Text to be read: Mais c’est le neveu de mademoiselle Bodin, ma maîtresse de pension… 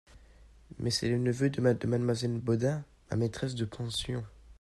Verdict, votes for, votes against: rejected, 0, 2